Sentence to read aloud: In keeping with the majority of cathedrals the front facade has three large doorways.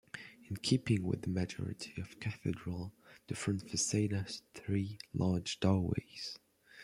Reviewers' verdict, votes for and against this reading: rejected, 1, 2